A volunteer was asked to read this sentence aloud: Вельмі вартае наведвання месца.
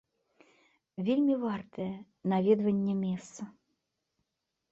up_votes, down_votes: 2, 0